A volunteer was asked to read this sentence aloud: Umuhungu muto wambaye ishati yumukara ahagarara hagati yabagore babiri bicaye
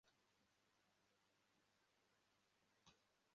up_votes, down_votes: 0, 2